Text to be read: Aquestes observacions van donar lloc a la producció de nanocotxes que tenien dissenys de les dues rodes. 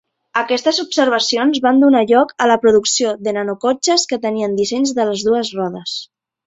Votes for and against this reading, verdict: 4, 0, accepted